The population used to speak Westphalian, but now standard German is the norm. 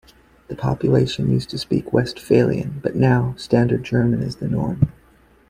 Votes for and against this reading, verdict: 2, 0, accepted